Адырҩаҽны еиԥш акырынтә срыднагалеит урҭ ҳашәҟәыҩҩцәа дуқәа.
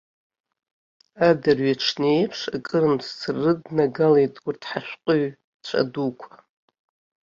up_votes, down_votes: 1, 3